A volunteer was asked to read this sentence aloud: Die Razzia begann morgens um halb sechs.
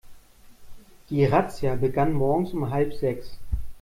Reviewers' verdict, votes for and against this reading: accepted, 2, 0